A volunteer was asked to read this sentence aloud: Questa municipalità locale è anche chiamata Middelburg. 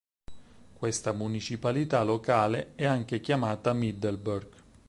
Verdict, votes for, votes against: rejected, 2, 4